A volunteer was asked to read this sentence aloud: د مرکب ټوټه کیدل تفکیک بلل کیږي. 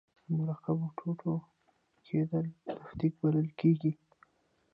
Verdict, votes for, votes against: rejected, 0, 2